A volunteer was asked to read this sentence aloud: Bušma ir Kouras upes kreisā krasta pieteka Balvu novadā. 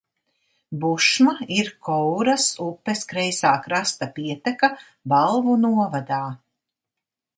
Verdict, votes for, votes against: accepted, 2, 0